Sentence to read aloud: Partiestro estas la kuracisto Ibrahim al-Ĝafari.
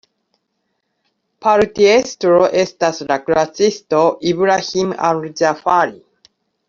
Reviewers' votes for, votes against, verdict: 2, 0, accepted